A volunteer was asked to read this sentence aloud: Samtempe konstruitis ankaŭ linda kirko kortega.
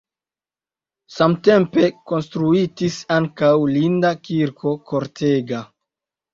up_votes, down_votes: 2, 0